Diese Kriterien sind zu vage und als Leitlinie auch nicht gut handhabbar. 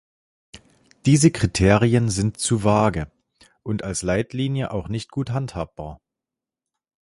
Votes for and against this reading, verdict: 2, 0, accepted